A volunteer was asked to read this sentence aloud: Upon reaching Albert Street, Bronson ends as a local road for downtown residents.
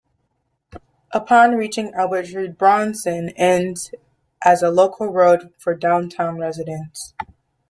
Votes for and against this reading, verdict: 0, 2, rejected